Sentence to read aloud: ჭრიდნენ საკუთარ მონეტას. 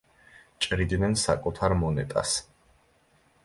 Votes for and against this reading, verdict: 2, 0, accepted